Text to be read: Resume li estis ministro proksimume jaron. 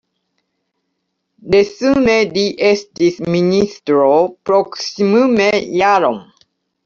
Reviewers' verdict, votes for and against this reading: rejected, 1, 2